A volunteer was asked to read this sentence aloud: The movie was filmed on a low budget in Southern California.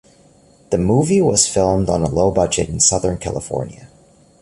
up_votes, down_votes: 2, 0